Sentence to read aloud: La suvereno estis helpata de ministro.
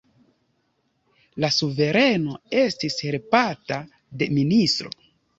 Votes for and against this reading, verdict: 1, 2, rejected